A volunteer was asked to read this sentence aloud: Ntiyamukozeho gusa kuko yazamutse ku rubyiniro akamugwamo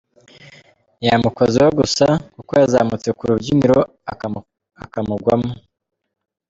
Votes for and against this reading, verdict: 1, 2, rejected